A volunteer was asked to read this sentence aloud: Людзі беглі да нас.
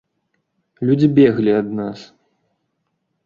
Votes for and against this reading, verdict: 1, 2, rejected